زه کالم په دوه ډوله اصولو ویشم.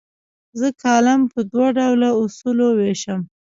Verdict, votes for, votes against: accepted, 2, 0